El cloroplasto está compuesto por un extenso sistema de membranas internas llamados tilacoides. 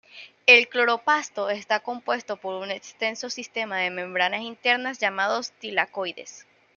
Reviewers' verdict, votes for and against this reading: rejected, 0, 2